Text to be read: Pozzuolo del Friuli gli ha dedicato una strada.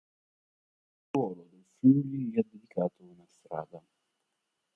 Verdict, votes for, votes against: rejected, 0, 3